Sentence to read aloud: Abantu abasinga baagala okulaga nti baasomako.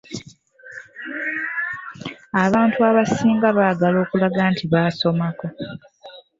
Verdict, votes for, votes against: rejected, 1, 2